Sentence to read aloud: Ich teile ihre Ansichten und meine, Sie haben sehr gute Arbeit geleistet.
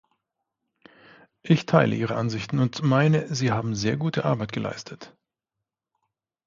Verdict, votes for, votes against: accepted, 2, 0